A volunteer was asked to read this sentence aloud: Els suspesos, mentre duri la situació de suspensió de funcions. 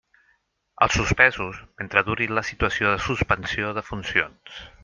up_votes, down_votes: 4, 0